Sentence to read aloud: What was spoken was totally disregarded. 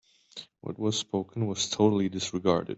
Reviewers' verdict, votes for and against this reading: accepted, 2, 0